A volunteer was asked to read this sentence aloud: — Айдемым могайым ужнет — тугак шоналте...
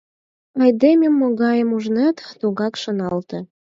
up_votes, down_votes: 4, 8